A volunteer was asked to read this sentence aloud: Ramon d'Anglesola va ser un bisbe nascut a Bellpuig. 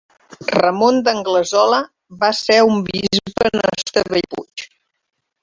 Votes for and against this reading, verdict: 1, 2, rejected